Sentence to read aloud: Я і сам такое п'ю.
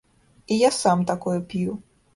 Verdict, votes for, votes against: accepted, 2, 0